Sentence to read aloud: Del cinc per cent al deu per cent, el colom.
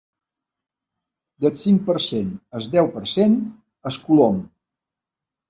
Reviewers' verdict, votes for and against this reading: rejected, 0, 2